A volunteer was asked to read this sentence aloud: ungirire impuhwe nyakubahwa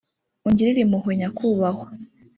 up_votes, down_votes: 0, 2